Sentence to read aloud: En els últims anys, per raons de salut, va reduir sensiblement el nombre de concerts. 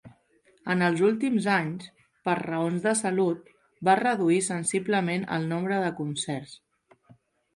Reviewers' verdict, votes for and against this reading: accepted, 3, 0